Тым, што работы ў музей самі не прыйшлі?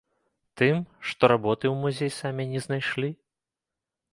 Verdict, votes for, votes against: rejected, 0, 2